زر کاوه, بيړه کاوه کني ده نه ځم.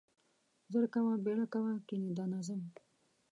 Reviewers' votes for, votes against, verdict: 1, 2, rejected